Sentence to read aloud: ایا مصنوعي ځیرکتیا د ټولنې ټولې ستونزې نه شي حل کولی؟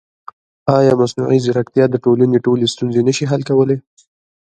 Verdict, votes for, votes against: accepted, 2, 1